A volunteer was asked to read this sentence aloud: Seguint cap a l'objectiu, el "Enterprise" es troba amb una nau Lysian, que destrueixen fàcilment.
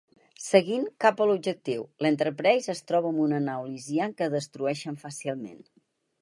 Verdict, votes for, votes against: rejected, 2, 4